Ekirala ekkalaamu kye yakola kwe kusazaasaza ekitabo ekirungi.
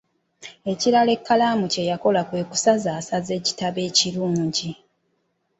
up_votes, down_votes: 2, 0